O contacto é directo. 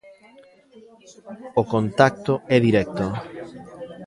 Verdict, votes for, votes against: rejected, 0, 2